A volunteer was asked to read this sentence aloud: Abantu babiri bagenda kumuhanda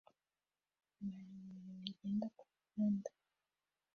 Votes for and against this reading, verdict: 0, 2, rejected